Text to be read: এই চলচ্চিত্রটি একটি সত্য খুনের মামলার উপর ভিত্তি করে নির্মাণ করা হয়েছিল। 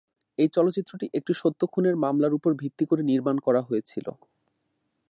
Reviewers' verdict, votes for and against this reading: accepted, 2, 0